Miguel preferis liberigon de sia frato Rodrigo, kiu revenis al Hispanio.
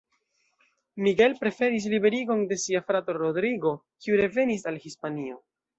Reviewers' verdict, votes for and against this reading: rejected, 0, 2